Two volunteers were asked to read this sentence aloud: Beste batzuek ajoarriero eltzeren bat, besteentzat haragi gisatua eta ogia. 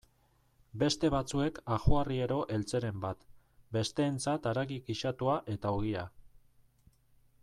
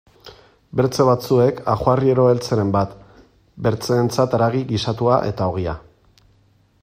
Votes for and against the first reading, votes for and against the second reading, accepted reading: 2, 0, 1, 2, first